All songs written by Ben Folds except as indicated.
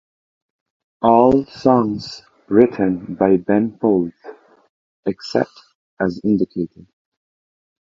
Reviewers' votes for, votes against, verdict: 2, 0, accepted